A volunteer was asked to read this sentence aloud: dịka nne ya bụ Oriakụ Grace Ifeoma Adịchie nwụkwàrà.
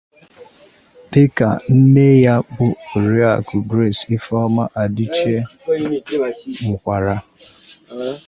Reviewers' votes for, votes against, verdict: 0, 2, rejected